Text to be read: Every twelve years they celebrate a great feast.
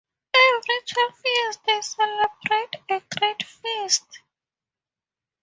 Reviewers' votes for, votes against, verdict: 4, 0, accepted